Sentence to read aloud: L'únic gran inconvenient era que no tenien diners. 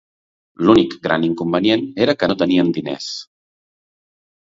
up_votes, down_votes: 2, 0